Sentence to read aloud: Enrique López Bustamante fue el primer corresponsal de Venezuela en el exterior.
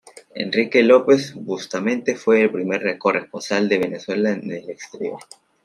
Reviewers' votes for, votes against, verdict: 0, 2, rejected